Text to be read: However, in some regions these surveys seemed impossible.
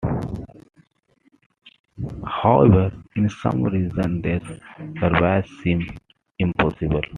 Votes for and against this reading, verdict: 1, 2, rejected